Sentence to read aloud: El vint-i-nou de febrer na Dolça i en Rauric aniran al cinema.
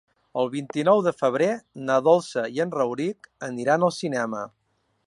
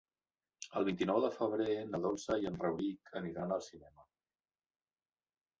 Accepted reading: first